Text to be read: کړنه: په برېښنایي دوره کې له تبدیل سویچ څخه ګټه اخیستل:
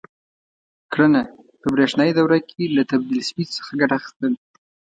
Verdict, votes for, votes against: accepted, 2, 0